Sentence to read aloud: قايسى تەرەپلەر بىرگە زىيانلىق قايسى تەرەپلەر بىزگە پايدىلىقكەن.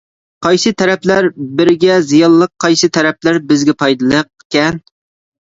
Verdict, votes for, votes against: rejected, 1, 2